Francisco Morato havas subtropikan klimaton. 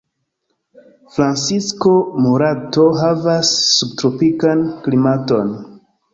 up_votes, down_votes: 0, 2